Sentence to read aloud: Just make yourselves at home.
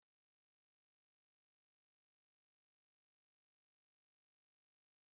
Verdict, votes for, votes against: rejected, 0, 2